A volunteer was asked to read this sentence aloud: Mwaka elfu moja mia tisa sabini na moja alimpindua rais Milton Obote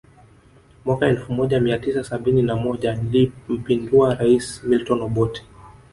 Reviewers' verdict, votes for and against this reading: rejected, 1, 2